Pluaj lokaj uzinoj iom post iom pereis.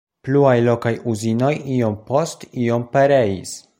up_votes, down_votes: 2, 0